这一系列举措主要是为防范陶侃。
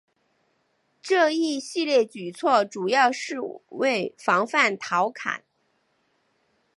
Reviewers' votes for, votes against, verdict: 10, 0, accepted